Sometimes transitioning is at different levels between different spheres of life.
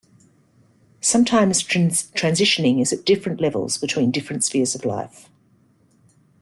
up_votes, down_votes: 1, 2